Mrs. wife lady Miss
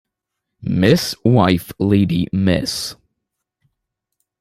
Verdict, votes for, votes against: accepted, 3, 0